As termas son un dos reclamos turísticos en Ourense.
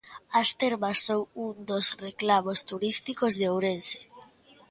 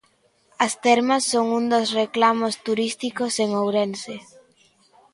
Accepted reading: second